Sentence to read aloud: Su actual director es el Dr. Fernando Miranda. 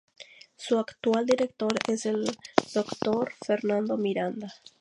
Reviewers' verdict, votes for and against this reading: accepted, 4, 0